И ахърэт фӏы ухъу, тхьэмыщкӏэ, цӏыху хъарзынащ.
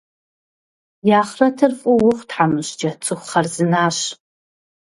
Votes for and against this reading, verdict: 1, 3, rejected